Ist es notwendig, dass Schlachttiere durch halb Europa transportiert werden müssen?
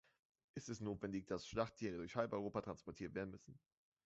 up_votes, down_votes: 1, 2